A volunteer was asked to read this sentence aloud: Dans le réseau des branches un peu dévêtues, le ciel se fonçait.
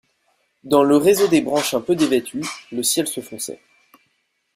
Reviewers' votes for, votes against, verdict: 2, 0, accepted